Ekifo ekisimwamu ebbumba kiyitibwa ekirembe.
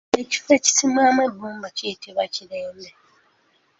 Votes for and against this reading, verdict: 0, 2, rejected